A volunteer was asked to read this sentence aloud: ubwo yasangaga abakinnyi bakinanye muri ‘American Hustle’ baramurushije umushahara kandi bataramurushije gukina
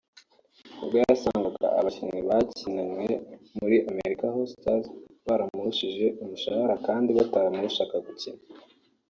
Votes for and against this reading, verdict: 2, 0, accepted